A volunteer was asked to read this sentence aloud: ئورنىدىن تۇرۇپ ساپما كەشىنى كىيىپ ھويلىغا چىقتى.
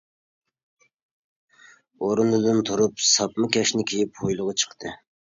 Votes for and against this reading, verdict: 0, 2, rejected